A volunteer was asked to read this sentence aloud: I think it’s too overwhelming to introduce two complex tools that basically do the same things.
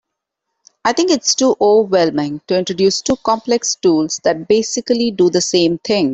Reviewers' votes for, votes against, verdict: 1, 2, rejected